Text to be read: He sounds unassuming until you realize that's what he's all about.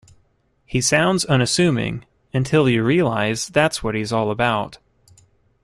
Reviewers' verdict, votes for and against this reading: accepted, 2, 0